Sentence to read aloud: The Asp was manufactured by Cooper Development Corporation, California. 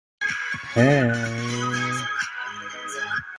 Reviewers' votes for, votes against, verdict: 0, 2, rejected